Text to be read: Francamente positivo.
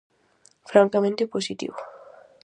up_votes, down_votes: 4, 0